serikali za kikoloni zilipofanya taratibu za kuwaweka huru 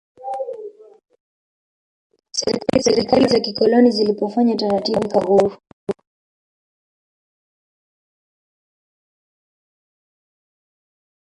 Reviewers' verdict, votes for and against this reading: rejected, 0, 2